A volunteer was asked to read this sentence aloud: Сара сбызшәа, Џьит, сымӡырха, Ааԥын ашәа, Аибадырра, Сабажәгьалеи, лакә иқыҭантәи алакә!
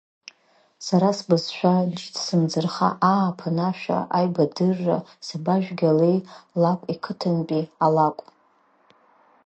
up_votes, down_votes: 1, 2